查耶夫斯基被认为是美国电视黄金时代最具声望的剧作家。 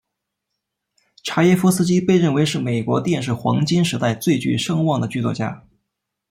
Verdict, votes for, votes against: accepted, 2, 0